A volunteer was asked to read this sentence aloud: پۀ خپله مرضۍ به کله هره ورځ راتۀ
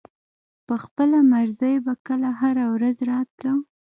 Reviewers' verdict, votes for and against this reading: rejected, 0, 2